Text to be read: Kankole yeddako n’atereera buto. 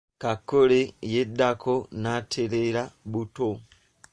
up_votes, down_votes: 1, 2